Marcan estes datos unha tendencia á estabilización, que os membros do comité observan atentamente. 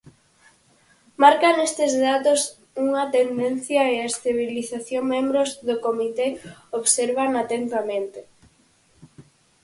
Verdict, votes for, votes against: rejected, 0, 4